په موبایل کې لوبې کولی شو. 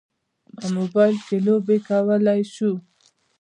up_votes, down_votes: 0, 2